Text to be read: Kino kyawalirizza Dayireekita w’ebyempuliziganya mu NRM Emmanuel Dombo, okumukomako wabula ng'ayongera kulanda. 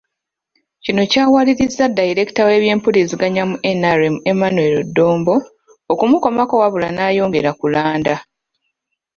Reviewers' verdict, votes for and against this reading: accepted, 2, 0